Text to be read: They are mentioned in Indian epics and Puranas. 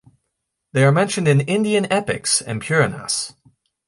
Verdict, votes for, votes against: accepted, 2, 0